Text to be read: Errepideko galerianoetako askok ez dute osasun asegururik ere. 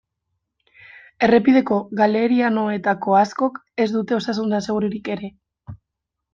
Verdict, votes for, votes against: rejected, 0, 2